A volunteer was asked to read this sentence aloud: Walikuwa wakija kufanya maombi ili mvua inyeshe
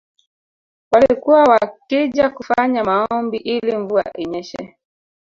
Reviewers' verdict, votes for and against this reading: rejected, 0, 2